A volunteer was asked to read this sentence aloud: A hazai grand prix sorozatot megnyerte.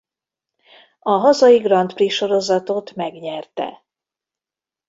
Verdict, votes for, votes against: accepted, 2, 0